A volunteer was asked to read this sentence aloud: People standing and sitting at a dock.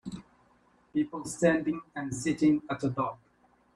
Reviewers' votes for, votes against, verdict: 1, 2, rejected